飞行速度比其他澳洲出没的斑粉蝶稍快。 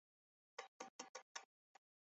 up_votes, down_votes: 0, 2